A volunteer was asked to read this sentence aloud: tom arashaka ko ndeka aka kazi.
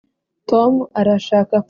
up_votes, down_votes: 0, 3